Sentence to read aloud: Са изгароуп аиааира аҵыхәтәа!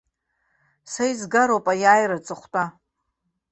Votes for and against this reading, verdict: 2, 0, accepted